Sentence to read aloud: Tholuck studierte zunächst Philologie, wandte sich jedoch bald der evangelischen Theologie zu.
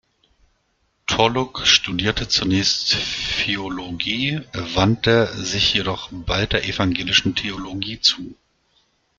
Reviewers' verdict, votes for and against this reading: accepted, 2, 1